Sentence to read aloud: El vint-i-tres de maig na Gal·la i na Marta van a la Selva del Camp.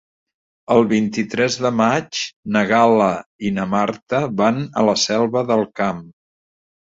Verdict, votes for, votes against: accepted, 3, 0